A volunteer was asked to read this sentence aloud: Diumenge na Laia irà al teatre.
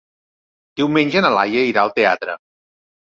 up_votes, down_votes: 3, 0